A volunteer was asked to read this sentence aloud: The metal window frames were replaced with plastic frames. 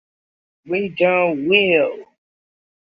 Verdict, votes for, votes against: rejected, 0, 2